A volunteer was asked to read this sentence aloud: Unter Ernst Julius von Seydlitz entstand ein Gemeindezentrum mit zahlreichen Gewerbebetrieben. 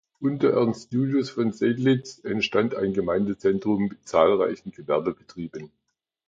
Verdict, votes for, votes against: accepted, 2, 0